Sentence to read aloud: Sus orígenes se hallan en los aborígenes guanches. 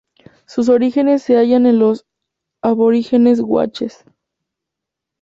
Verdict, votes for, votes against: rejected, 0, 2